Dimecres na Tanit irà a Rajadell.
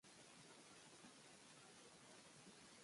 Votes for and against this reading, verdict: 1, 3, rejected